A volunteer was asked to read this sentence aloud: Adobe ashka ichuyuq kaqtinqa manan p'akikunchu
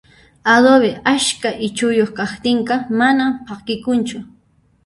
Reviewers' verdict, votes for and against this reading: rejected, 0, 2